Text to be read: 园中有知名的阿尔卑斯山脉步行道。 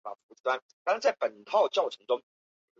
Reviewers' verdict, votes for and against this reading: rejected, 0, 3